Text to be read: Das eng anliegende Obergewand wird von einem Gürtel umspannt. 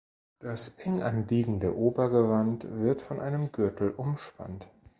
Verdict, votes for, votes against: accepted, 2, 0